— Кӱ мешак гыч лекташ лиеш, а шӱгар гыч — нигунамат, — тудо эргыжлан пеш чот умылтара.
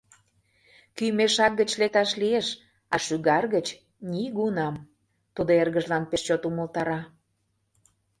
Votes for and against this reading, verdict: 0, 2, rejected